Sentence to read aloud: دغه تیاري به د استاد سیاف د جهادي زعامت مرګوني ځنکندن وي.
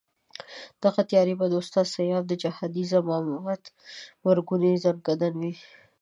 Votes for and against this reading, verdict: 2, 0, accepted